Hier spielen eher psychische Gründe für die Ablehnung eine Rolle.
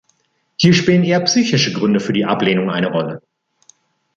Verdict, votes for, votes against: accepted, 2, 0